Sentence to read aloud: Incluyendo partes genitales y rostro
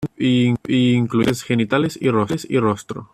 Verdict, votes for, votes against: rejected, 1, 2